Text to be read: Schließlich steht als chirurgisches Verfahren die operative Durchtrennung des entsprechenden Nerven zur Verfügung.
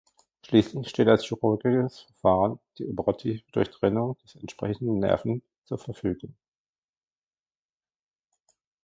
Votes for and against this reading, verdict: 1, 2, rejected